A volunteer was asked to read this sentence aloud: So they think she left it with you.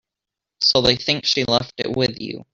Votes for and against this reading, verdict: 1, 2, rejected